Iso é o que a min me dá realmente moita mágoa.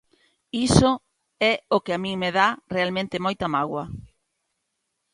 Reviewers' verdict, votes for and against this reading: accepted, 2, 0